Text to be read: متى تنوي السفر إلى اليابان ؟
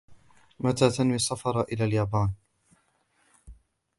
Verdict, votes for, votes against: accepted, 2, 0